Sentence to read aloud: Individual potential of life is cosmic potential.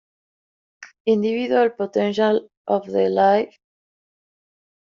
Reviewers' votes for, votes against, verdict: 0, 2, rejected